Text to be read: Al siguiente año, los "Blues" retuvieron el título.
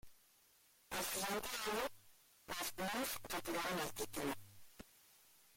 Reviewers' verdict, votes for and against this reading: rejected, 0, 2